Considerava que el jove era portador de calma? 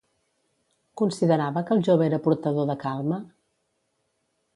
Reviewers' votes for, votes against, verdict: 2, 0, accepted